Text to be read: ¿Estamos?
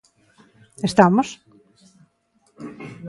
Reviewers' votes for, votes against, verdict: 2, 0, accepted